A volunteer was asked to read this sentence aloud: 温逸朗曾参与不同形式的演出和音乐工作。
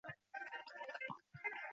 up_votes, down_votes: 0, 2